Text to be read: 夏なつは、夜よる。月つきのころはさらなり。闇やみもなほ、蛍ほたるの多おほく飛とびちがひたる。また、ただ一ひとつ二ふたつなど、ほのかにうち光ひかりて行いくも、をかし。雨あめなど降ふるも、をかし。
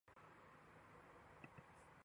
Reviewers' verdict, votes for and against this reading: rejected, 0, 2